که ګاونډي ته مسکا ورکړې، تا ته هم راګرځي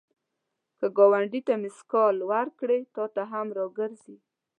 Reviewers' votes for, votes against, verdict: 0, 2, rejected